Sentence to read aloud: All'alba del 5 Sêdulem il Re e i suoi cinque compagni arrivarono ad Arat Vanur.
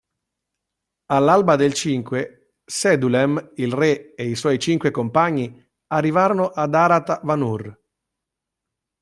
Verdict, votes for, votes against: rejected, 0, 2